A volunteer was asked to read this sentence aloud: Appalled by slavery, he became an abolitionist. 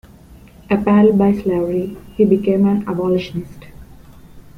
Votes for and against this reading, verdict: 1, 2, rejected